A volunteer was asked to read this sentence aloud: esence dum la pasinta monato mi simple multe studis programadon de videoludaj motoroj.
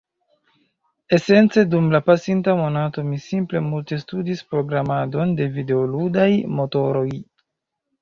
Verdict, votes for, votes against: accepted, 2, 0